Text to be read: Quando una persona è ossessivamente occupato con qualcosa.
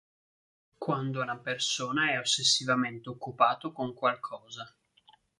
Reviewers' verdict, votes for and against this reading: accepted, 2, 1